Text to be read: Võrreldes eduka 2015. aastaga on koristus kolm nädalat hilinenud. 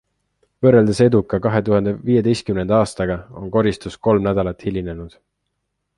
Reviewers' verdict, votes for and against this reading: rejected, 0, 2